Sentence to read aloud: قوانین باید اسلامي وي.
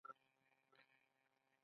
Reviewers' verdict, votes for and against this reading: accepted, 2, 1